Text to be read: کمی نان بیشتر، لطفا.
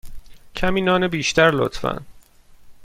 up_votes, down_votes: 2, 0